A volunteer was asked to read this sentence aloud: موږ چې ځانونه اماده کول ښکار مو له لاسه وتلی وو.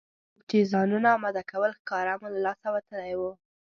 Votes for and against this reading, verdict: 1, 2, rejected